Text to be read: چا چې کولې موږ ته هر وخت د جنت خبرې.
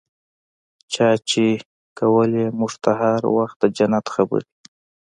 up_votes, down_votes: 2, 0